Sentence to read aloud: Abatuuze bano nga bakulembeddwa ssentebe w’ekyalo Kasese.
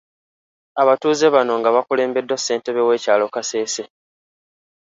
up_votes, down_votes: 2, 0